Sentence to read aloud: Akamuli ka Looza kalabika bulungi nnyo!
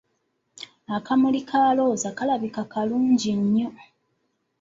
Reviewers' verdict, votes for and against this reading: accepted, 2, 1